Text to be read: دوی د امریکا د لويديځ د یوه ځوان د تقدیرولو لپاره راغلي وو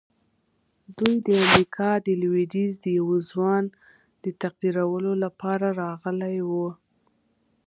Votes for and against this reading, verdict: 2, 0, accepted